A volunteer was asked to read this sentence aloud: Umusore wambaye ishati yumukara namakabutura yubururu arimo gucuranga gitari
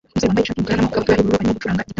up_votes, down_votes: 0, 2